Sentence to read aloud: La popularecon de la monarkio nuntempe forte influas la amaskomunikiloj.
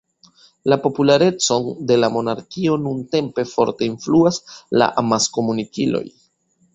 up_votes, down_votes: 2, 0